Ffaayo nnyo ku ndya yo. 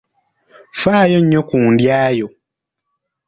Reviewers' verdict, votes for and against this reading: accepted, 2, 0